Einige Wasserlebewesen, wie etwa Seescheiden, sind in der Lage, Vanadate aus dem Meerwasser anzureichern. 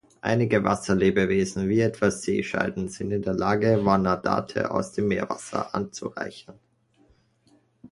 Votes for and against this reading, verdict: 2, 0, accepted